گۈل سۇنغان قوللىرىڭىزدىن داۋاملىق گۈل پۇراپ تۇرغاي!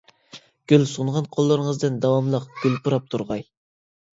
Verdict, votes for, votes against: accepted, 2, 0